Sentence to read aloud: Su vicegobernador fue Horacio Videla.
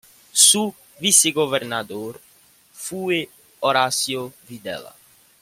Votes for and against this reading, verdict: 3, 0, accepted